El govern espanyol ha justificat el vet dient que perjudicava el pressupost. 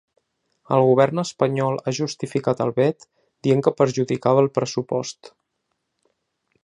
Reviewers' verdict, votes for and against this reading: accepted, 2, 0